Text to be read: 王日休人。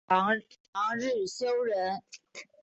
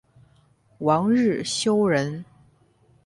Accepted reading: second